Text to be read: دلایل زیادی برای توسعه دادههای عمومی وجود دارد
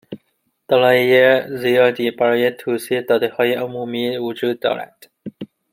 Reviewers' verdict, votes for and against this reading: rejected, 0, 2